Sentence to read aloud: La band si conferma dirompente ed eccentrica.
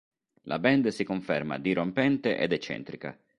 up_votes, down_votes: 2, 0